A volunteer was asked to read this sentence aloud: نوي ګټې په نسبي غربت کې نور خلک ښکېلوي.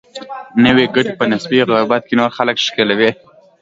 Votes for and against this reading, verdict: 2, 1, accepted